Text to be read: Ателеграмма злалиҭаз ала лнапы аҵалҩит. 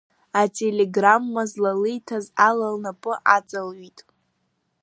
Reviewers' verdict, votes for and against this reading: rejected, 1, 2